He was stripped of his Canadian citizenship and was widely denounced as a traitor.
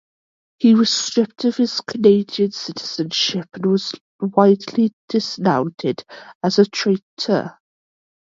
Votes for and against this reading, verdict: 0, 2, rejected